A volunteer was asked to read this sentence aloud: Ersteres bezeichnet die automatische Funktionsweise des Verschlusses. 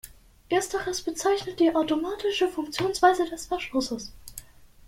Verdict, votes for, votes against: accepted, 2, 0